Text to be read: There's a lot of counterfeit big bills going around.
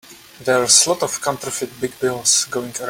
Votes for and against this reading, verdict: 0, 2, rejected